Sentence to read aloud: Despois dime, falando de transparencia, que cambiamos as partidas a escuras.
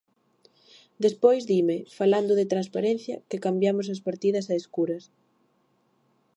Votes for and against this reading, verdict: 2, 0, accepted